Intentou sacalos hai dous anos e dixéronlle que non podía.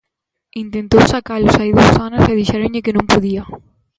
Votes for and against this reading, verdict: 2, 0, accepted